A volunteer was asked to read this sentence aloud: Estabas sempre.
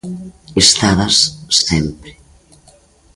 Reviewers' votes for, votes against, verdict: 2, 1, accepted